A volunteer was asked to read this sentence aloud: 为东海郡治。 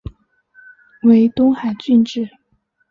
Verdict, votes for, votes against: accepted, 2, 0